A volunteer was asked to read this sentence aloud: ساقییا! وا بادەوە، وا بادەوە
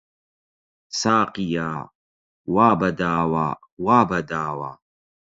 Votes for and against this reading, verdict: 0, 4, rejected